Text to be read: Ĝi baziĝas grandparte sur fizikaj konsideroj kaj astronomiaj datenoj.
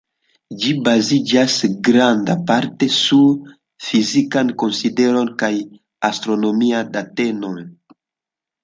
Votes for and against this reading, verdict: 0, 2, rejected